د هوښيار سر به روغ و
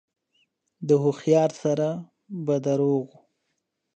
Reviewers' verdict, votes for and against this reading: accepted, 2, 1